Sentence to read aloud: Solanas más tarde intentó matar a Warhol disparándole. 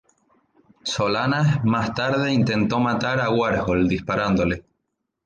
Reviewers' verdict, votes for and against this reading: rejected, 0, 2